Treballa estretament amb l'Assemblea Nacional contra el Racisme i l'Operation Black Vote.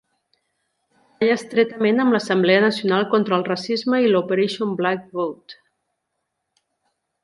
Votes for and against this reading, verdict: 0, 2, rejected